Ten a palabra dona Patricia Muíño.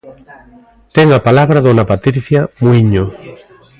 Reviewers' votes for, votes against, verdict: 2, 0, accepted